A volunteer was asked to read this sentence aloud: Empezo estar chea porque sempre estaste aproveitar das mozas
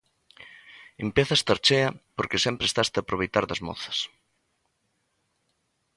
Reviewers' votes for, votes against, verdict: 2, 1, accepted